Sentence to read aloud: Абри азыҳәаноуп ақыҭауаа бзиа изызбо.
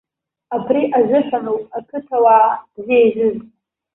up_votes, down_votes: 0, 2